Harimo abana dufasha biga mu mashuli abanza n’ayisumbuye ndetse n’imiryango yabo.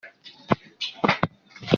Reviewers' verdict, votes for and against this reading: rejected, 0, 2